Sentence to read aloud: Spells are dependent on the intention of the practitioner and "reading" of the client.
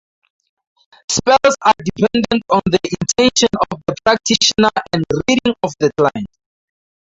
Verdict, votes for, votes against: rejected, 0, 2